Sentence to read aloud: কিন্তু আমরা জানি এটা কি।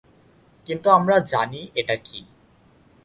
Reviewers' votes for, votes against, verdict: 2, 0, accepted